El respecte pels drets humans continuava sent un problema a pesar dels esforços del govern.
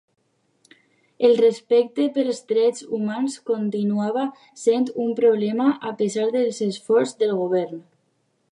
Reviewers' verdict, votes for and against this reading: rejected, 0, 2